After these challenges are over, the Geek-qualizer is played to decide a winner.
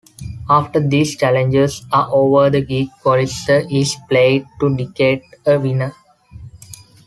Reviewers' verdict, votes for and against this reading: rejected, 1, 2